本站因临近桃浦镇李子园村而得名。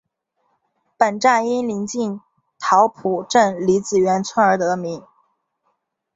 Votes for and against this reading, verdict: 2, 0, accepted